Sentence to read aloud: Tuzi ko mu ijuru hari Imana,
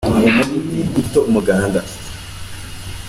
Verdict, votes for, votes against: rejected, 0, 2